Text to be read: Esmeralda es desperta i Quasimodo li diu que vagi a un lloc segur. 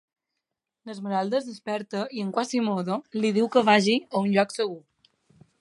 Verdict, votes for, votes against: accepted, 3, 1